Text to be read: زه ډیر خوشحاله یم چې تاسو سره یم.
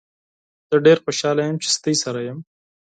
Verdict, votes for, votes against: accepted, 4, 2